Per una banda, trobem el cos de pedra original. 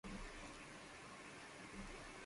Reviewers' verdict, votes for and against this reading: rejected, 0, 2